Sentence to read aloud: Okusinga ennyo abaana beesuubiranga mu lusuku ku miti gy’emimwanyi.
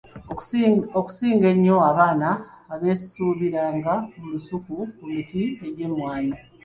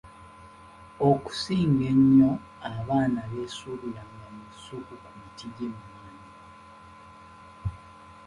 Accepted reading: second